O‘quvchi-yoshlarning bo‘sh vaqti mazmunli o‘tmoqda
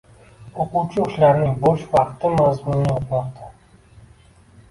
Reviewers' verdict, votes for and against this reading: rejected, 0, 2